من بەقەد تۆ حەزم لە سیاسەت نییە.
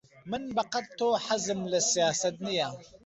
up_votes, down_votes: 6, 0